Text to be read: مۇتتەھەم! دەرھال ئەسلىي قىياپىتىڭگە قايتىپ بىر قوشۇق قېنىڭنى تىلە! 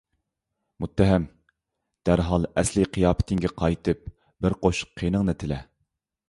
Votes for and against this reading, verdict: 2, 0, accepted